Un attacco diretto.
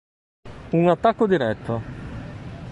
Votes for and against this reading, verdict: 2, 0, accepted